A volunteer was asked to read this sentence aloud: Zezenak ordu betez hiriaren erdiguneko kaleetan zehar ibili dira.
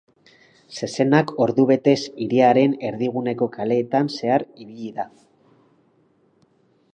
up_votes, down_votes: 0, 6